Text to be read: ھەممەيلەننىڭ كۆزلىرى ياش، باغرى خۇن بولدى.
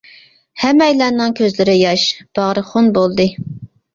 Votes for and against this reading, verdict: 2, 0, accepted